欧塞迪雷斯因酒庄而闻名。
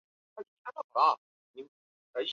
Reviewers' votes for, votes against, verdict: 2, 3, rejected